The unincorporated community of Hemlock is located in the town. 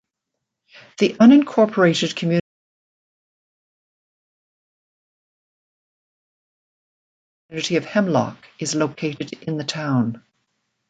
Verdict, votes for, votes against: rejected, 1, 2